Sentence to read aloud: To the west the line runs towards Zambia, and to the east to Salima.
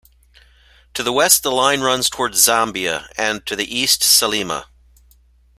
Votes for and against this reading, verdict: 1, 2, rejected